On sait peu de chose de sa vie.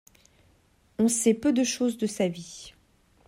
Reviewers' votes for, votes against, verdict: 2, 0, accepted